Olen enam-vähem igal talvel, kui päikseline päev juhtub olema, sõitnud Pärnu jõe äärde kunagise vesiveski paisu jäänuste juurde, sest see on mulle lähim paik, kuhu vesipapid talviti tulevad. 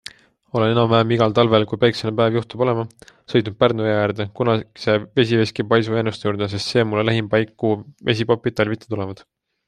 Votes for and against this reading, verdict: 2, 1, accepted